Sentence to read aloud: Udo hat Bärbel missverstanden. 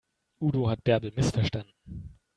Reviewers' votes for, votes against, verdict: 2, 0, accepted